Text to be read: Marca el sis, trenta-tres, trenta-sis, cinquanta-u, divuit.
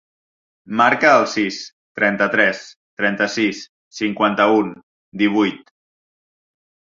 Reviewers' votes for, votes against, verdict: 1, 2, rejected